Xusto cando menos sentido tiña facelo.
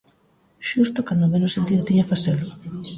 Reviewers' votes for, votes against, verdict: 2, 1, accepted